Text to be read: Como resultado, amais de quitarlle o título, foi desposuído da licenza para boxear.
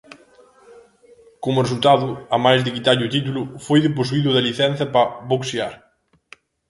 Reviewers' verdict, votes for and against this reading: rejected, 0, 2